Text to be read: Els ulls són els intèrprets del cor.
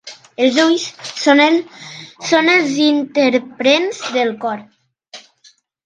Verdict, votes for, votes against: rejected, 0, 2